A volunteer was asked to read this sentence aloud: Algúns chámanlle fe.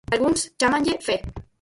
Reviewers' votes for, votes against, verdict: 4, 0, accepted